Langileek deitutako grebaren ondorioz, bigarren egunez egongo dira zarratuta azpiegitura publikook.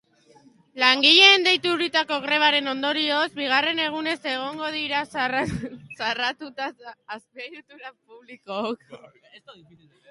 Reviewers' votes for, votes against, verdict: 0, 3, rejected